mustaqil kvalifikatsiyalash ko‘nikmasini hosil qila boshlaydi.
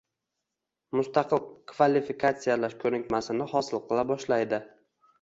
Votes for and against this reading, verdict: 2, 0, accepted